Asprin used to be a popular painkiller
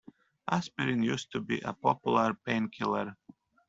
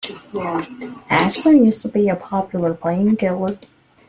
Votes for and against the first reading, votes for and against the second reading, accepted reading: 1, 2, 2, 0, second